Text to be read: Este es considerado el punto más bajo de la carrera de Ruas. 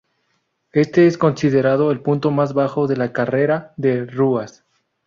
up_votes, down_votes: 2, 0